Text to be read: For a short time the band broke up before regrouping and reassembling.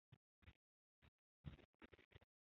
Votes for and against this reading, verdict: 0, 2, rejected